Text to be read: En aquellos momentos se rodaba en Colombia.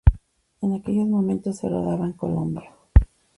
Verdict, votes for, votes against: accepted, 2, 0